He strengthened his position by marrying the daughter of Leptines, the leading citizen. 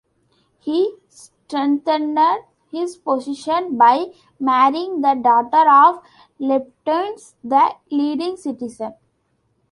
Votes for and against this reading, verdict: 0, 2, rejected